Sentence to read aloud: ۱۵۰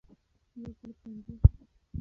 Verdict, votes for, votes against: rejected, 0, 2